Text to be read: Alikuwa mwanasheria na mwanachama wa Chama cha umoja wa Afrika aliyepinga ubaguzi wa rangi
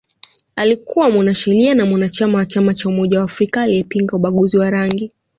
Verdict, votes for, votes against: accepted, 2, 0